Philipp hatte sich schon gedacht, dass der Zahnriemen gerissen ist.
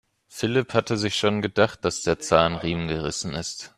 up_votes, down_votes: 2, 0